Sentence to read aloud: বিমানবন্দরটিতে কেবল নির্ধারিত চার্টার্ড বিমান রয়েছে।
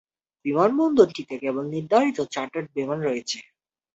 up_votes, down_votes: 2, 0